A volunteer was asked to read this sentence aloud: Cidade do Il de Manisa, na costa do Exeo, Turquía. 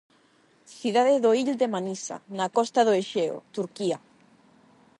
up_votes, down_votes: 8, 0